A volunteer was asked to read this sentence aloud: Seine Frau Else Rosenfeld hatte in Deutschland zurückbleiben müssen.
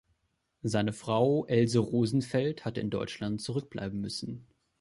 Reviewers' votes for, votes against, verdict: 2, 1, accepted